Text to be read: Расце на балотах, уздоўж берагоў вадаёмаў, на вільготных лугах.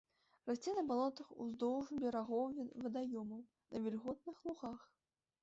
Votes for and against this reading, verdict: 0, 2, rejected